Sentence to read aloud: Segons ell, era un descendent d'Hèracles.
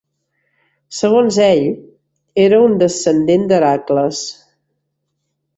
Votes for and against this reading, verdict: 2, 0, accepted